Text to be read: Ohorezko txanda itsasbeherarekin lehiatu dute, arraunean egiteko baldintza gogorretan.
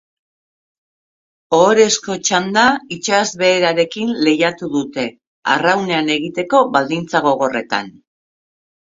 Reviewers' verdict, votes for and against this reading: accepted, 2, 0